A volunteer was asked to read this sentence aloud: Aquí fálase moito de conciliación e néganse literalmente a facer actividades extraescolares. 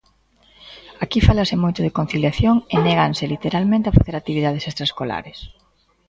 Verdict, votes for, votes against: accepted, 2, 0